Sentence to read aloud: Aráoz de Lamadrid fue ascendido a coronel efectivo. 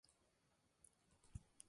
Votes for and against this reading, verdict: 0, 2, rejected